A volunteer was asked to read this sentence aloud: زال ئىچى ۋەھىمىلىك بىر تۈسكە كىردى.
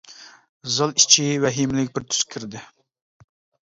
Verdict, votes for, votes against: rejected, 0, 2